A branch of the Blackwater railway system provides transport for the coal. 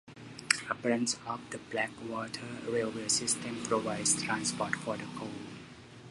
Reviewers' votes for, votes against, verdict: 1, 2, rejected